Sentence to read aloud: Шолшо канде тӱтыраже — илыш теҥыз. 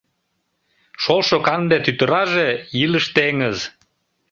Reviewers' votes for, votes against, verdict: 2, 0, accepted